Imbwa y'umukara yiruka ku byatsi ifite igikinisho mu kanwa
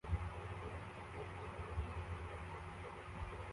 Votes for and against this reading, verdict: 0, 2, rejected